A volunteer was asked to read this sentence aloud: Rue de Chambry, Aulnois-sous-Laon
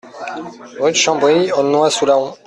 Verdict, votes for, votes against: rejected, 0, 2